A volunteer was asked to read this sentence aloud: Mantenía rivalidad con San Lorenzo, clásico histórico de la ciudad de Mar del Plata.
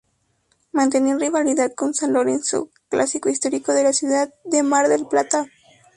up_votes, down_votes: 0, 4